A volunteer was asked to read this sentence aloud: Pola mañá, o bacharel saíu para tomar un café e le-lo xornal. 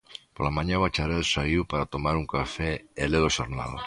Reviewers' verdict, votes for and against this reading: accepted, 2, 0